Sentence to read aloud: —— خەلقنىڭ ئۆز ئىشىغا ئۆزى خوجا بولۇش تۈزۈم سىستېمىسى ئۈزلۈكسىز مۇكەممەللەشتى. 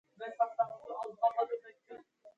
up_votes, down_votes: 0, 2